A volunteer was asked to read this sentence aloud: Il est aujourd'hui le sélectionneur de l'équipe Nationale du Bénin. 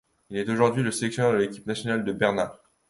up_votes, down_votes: 1, 2